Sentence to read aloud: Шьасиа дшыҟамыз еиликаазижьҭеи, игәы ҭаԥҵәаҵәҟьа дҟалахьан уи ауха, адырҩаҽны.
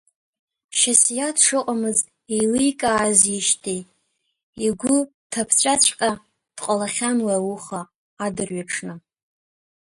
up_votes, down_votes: 1, 2